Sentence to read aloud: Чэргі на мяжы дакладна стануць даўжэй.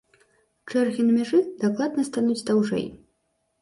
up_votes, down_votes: 2, 0